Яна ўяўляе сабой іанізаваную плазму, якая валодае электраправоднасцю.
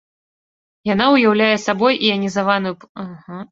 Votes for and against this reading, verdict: 0, 2, rejected